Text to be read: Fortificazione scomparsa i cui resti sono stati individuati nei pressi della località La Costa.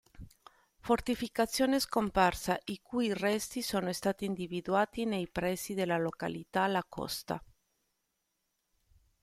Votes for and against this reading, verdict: 2, 0, accepted